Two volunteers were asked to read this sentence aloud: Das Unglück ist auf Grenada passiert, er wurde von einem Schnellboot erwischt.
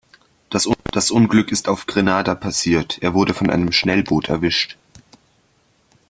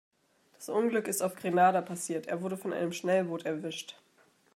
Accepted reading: second